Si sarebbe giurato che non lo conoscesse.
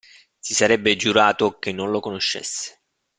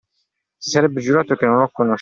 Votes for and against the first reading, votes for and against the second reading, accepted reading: 2, 0, 0, 2, first